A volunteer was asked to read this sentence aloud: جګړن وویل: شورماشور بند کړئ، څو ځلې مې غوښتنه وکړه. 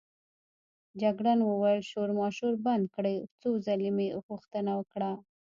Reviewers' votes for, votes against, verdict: 0, 2, rejected